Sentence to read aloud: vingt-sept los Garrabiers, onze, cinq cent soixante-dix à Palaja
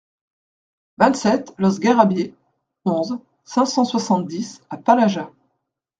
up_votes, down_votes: 2, 0